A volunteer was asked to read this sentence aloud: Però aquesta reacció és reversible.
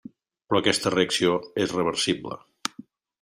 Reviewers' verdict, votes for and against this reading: accepted, 4, 1